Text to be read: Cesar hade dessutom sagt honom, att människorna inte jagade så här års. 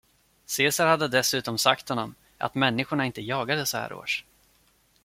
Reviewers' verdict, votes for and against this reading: accepted, 2, 0